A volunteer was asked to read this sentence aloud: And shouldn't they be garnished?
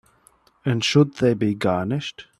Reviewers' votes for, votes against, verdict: 0, 2, rejected